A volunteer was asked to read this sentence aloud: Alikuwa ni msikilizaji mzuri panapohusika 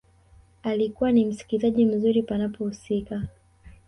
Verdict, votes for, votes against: accepted, 2, 0